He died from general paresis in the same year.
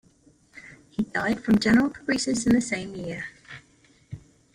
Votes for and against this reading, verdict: 0, 2, rejected